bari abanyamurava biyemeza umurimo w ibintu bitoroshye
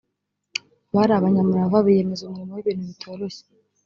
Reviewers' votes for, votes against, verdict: 1, 2, rejected